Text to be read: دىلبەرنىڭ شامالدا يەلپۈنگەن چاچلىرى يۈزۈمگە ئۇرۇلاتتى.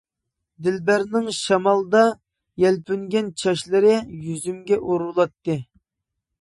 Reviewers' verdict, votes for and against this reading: accepted, 2, 0